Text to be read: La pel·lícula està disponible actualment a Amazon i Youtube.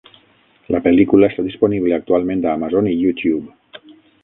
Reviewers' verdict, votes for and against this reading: rejected, 3, 6